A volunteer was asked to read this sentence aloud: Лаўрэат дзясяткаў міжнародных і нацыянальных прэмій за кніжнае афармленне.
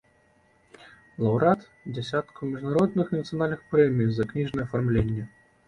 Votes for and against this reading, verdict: 2, 0, accepted